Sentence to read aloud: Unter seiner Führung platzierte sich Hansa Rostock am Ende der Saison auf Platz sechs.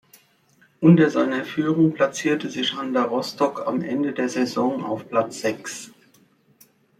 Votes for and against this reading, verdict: 2, 0, accepted